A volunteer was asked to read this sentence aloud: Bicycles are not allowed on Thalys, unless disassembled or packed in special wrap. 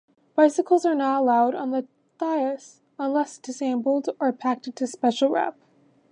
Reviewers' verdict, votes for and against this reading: rejected, 0, 2